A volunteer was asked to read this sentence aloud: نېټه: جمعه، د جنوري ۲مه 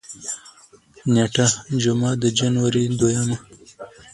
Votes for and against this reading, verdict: 0, 2, rejected